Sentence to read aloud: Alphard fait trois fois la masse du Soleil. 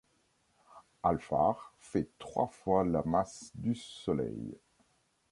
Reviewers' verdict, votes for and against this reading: accepted, 2, 0